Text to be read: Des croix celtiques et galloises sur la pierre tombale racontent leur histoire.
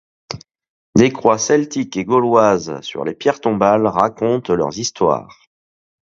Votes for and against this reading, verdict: 0, 2, rejected